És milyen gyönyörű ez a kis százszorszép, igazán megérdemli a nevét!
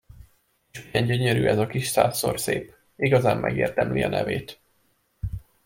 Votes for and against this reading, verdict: 1, 2, rejected